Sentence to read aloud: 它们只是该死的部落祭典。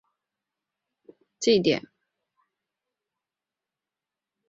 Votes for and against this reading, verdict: 0, 2, rejected